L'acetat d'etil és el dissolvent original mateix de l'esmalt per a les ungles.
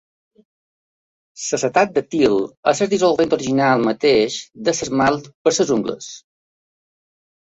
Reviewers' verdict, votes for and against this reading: rejected, 1, 2